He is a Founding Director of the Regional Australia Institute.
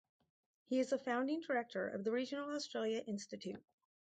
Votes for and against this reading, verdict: 2, 0, accepted